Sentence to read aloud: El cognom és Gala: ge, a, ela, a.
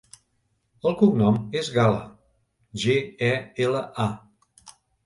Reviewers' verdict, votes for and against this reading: rejected, 0, 2